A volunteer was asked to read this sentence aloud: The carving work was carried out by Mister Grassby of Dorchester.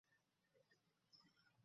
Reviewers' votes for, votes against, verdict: 0, 2, rejected